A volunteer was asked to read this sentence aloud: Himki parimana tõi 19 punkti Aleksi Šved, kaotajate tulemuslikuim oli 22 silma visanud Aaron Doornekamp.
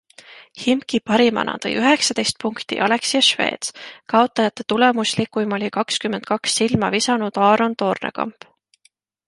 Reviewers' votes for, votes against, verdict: 0, 2, rejected